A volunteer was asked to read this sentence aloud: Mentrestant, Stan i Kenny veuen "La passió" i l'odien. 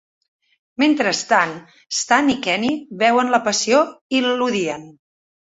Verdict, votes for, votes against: accepted, 2, 0